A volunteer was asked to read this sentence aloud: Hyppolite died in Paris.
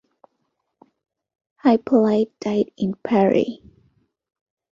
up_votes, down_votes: 2, 1